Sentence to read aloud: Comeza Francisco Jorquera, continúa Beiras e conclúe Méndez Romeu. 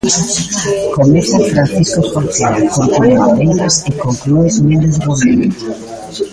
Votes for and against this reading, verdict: 0, 2, rejected